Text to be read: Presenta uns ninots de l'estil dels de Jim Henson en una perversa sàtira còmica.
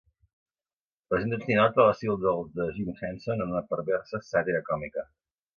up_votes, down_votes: 1, 2